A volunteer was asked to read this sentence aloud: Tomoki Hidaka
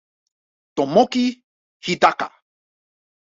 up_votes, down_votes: 2, 0